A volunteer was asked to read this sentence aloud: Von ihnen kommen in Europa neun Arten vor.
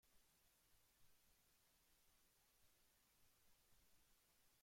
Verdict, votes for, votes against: rejected, 0, 2